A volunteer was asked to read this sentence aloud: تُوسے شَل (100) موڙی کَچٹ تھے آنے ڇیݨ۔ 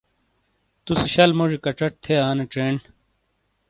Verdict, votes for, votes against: rejected, 0, 2